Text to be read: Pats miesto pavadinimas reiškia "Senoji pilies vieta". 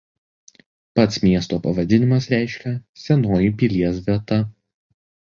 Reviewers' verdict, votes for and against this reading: rejected, 1, 2